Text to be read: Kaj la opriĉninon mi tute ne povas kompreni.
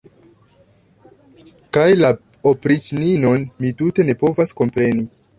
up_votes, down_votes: 2, 0